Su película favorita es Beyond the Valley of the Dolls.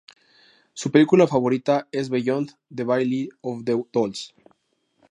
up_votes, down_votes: 0, 2